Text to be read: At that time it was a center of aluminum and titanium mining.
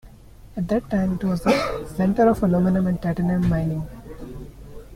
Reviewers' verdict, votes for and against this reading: rejected, 1, 2